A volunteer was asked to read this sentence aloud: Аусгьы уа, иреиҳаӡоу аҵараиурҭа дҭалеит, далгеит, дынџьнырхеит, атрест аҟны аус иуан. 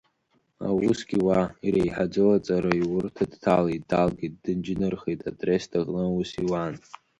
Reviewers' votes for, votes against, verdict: 2, 0, accepted